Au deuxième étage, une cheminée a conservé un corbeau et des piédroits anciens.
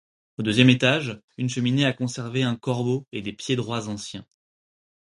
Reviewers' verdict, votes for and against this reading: accepted, 4, 0